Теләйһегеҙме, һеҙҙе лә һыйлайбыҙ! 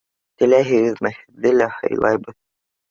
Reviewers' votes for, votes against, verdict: 2, 0, accepted